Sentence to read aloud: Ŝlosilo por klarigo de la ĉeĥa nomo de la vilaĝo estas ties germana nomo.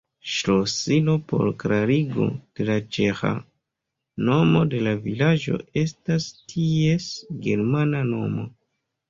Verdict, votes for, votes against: accepted, 2, 0